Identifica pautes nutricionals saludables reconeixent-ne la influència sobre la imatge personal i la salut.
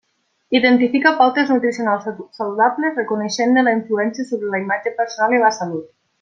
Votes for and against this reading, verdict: 0, 2, rejected